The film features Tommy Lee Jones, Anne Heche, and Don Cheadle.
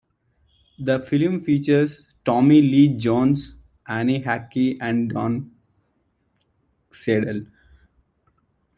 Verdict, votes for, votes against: rejected, 0, 2